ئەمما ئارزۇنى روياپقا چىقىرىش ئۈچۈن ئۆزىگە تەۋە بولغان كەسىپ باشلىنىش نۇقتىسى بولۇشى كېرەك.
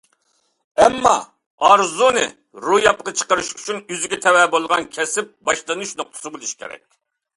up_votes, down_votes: 2, 0